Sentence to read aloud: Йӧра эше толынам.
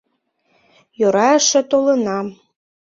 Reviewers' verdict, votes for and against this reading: accepted, 2, 0